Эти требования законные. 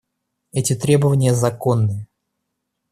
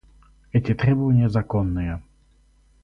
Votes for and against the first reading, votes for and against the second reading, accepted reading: 1, 2, 4, 0, second